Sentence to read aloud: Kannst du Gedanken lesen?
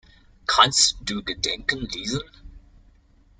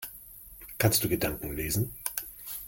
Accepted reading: second